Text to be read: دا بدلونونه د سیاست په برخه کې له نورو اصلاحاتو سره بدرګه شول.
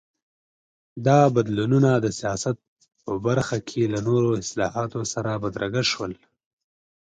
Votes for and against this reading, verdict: 2, 0, accepted